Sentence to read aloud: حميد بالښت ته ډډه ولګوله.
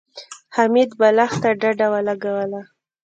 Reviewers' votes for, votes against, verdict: 1, 2, rejected